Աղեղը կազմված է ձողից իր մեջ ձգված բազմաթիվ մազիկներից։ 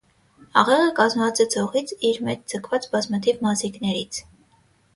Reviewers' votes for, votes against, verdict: 6, 3, accepted